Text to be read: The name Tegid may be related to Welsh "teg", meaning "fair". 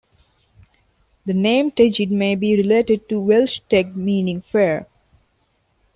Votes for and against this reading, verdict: 2, 0, accepted